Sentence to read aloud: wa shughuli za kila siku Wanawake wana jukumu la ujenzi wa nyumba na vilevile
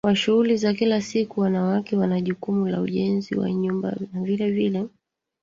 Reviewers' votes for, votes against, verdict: 3, 1, accepted